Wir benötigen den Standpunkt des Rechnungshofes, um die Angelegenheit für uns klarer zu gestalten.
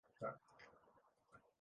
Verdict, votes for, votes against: rejected, 0, 2